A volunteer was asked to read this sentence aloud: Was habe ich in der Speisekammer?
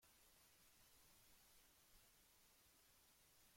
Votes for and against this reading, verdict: 0, 2, rejected